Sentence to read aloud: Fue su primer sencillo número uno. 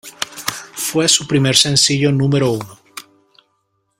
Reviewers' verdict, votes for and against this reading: accepted, 2, 1